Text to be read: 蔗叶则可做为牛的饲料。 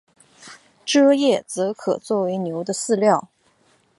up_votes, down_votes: 3, 2